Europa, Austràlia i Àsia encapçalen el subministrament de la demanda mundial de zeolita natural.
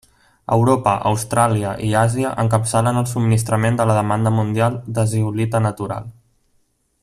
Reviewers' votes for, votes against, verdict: 2, 0, accepted